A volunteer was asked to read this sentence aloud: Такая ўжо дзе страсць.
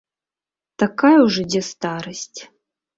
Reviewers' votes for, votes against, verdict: 0, 2, rejected